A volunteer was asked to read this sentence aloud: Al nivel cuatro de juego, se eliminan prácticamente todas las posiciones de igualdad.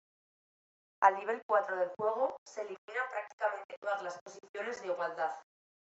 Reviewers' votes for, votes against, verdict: 2, 0, accepted